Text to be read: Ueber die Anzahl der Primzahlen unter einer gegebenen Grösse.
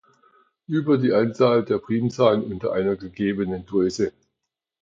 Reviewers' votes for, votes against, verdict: 2, 0, accepted